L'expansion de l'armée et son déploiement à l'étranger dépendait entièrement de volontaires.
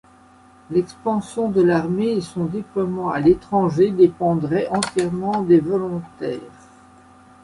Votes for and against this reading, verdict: 0, 2, rejected